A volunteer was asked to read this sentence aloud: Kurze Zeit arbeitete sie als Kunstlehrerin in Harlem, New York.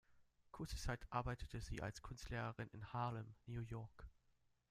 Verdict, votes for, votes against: rejected, 1, 2